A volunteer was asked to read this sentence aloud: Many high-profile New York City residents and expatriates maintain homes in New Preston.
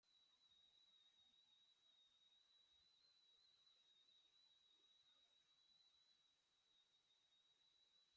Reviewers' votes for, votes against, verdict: 0, 3, rejected